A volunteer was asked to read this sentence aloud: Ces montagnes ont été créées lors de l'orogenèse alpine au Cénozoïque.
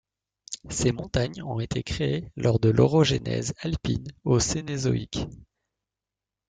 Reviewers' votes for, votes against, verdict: 1, 2, rejected